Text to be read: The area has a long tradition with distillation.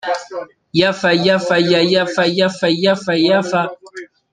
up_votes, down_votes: 0, 2